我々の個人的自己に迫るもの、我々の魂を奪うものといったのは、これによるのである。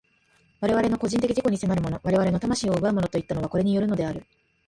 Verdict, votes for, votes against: rejected, 1, 2